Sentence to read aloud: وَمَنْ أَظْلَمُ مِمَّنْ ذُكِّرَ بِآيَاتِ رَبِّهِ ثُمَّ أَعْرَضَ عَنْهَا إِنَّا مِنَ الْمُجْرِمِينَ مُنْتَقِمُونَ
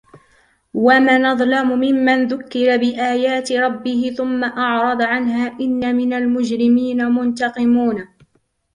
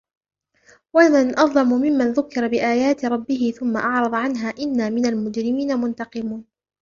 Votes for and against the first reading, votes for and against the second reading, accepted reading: 1, 2, 2, 0, second